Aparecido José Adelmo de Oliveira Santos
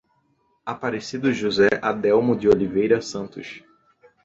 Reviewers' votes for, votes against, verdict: 2, 0, accepted